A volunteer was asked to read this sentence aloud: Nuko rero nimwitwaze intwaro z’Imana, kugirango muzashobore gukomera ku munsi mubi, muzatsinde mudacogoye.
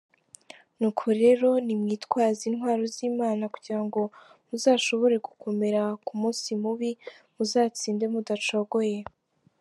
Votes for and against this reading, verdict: 2, 0, accepted